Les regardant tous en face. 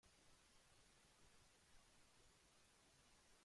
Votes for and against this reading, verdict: 0, 2, rejected